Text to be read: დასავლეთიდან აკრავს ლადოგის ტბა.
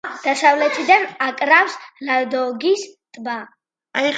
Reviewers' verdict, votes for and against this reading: accepted, 2, 0